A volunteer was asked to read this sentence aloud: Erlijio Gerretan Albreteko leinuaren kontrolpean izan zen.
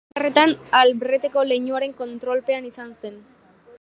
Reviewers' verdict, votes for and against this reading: rejected, 1, 5